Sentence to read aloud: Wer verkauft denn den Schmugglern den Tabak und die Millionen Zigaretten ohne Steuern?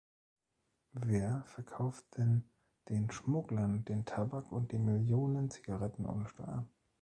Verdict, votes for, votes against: accepted, 2, 0